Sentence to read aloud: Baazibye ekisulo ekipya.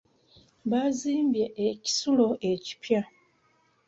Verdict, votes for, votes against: rejected, 1, 2